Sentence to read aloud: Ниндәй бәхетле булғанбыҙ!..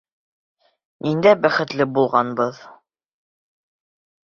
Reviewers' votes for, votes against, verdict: 3, 0, accepted